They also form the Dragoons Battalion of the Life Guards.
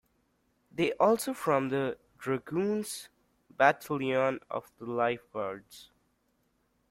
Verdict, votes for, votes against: rejected, 1, 2